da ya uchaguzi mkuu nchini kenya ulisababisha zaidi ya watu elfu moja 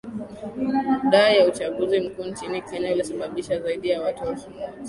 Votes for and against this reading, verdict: 3, 2, accepted